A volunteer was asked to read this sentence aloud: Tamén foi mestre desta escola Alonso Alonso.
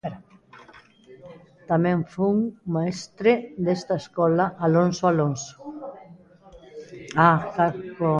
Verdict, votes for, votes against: rejected, 0, 2